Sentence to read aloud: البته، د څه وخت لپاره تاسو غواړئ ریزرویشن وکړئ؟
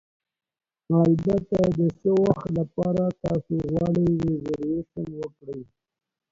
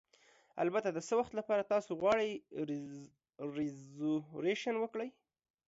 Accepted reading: first